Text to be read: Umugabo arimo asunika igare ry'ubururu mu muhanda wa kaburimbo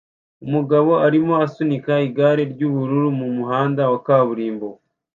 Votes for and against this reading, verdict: 2, 0, accepted